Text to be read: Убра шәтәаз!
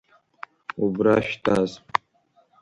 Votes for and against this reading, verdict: 2, 0, accepted